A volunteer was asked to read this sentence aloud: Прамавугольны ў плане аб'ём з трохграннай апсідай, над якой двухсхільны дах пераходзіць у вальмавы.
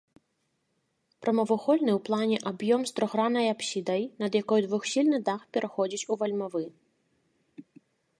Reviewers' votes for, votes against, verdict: 3, 0, accepted